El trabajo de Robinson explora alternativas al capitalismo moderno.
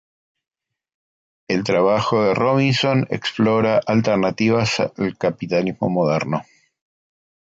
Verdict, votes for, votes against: accepted, 2, 0